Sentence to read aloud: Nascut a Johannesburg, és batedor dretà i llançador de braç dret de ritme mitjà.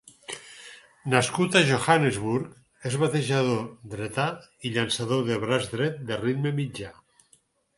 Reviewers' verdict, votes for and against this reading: rejected, 0, 4